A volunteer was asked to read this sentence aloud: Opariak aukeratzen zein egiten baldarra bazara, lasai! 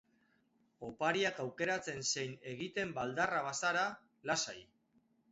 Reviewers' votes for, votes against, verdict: 8, 0, accepted